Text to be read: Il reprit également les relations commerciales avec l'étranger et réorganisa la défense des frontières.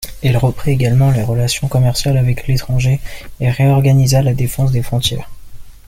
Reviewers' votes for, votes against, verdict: 2, 0, accepted